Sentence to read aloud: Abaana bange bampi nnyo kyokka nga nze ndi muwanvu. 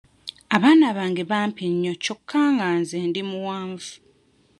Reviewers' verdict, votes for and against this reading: accepted, 2, 0